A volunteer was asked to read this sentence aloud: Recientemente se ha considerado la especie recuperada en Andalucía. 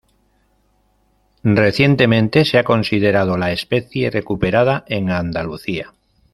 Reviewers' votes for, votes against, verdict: 2, 0, accepted